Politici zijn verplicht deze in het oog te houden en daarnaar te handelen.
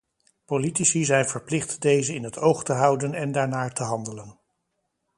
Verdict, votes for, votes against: accepted, 2, 0